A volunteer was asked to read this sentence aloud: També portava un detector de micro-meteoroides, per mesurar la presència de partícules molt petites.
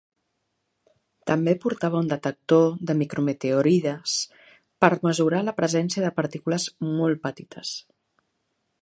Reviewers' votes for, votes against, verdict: 1, 2, rejected